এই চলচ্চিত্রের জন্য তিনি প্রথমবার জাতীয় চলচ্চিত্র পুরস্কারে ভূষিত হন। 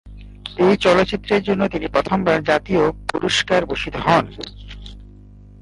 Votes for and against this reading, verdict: 0, 2, rejected